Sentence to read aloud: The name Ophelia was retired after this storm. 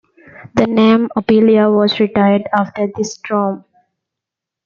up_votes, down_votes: 2, 1